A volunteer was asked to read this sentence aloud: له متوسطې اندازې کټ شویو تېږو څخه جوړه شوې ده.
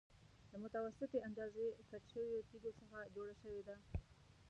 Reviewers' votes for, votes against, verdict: 1, 2, rejected